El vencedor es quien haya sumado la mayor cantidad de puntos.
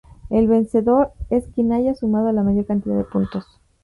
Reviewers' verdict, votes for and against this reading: accepted, 2, 0